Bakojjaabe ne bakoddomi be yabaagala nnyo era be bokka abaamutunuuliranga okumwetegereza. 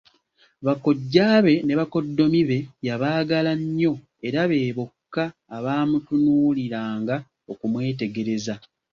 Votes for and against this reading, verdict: 2, 0, accepted